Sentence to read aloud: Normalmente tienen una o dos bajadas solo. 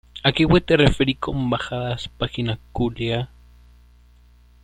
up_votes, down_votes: 0, 2